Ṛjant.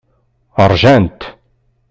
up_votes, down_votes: 2, 0